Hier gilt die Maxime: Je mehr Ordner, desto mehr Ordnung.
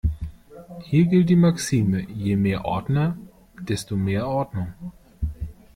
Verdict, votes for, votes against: accepted, 2, 0